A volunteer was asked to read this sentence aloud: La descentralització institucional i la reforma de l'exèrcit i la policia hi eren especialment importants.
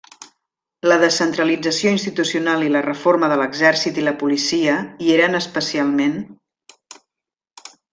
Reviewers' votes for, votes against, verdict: 0, 2, rejected